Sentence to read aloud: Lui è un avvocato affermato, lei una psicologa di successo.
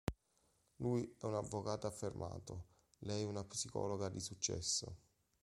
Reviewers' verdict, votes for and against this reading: accepted, 2, 0